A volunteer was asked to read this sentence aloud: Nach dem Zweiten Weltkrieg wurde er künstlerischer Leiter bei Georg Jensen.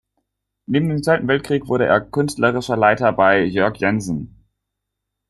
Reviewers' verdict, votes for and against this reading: rejected, 0, 2